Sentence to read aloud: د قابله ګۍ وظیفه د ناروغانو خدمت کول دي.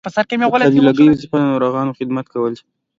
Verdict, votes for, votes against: accepted, 2, 0